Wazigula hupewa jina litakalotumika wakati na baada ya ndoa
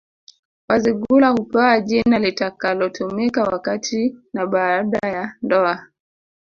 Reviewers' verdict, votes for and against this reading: accepted, 2, 0